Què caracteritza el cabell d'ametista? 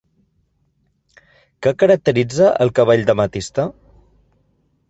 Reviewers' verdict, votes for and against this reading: accepted, 2, 0